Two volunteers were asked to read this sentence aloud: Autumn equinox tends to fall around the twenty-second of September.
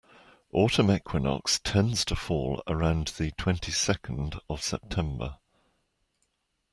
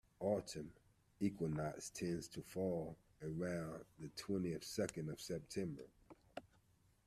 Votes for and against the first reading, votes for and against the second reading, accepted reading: 2, 0, 1, 2, first